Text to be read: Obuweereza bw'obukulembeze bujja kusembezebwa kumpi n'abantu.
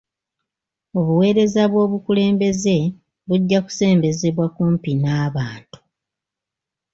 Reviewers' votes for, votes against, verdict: 2, 0, accepted